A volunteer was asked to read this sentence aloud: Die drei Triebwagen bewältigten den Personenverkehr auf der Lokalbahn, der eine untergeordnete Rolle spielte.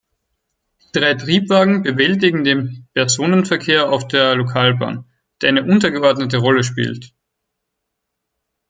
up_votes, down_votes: 2, 4